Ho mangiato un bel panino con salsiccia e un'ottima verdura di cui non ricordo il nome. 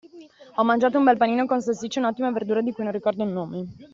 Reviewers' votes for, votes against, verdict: 2, 0, accepted